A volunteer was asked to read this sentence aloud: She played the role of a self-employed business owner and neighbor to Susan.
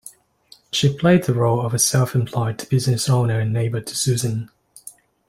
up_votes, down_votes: 2, 0